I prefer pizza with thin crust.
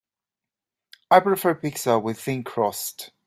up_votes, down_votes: 2, 0